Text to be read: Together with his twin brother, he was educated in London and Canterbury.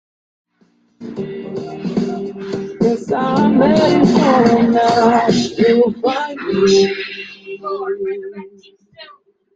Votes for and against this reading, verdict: 0, 2, rejected